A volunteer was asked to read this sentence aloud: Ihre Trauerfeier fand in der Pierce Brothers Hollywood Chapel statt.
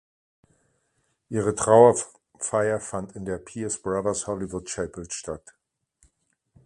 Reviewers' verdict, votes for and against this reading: rejected, 1, 2